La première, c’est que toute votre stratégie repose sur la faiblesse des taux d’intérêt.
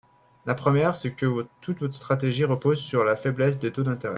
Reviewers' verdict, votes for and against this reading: rejected, 2, 3